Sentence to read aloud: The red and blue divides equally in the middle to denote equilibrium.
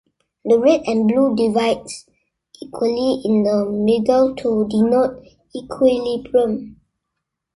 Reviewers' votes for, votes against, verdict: 1, 2, rejected